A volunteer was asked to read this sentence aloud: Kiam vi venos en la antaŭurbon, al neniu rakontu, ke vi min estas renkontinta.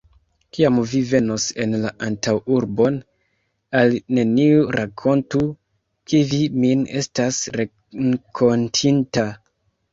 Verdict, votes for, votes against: rejected, 1, 2